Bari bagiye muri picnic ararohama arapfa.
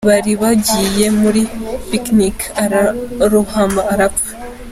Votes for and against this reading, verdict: 2, 0, accepted